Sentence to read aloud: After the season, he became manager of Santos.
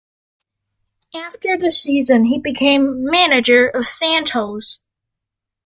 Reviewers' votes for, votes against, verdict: 2, 0, accepted